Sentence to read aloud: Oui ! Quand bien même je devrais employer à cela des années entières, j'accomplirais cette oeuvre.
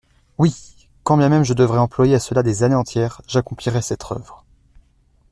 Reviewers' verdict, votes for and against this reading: rejected, 1, 2